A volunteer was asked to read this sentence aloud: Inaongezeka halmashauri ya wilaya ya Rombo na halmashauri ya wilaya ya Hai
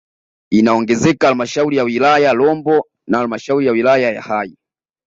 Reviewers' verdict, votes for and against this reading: accepted, 2, 1